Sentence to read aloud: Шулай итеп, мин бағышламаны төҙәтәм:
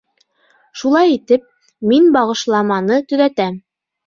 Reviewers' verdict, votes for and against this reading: accepted, 2, 0